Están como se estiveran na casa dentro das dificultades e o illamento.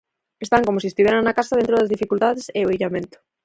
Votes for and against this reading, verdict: 2, 4, rejected